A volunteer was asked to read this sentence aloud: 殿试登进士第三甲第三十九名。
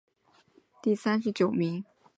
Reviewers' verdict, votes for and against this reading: rejected, 0, 4